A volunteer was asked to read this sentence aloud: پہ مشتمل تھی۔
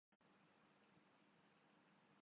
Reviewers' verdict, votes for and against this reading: rejected, 0, 2